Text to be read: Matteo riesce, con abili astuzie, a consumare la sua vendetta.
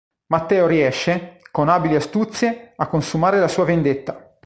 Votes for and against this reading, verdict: 3, 0, accepted